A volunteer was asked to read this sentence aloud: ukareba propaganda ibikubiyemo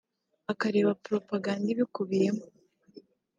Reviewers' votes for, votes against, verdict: 2, 0, accepted